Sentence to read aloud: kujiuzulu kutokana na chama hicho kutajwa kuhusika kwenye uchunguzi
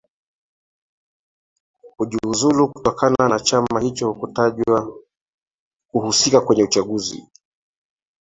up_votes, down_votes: 3, 2